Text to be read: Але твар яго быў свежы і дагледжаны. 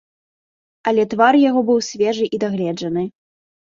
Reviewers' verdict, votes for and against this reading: accepted, 2, 0